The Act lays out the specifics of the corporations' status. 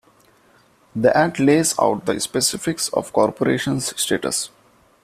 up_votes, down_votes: 0, 2